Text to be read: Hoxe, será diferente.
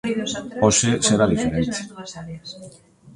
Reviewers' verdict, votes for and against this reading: rejected, 0, 2